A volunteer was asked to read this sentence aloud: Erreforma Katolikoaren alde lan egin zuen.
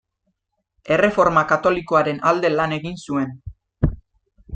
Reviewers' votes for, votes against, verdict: 2, 0, accepted